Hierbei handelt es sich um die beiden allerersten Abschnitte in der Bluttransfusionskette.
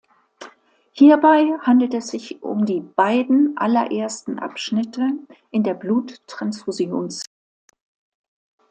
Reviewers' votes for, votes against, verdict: 0, 2, rejected